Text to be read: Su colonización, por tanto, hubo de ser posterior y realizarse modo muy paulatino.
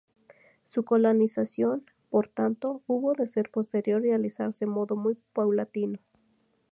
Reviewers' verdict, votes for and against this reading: accepted, 2, 0